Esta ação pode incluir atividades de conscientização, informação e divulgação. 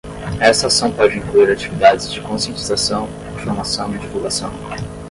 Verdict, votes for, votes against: accepted, 10, 5